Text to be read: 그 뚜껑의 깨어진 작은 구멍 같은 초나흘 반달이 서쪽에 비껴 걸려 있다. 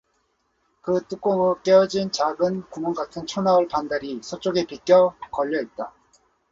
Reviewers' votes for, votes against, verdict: 4, 0, accepted